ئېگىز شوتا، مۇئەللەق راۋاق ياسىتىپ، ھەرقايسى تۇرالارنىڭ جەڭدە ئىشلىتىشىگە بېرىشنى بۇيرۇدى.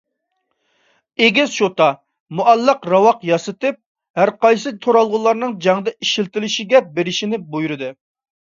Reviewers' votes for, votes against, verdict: 1, 2, rejected